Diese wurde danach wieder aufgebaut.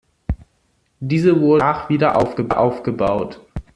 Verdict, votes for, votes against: rejected, 0, 2